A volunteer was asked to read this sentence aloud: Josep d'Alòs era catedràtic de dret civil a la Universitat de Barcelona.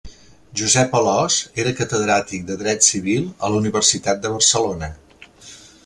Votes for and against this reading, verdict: 1, 2, rejected